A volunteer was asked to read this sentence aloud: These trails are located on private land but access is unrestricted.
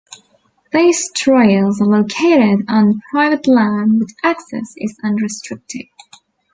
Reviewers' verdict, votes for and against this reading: rejected, 1, 2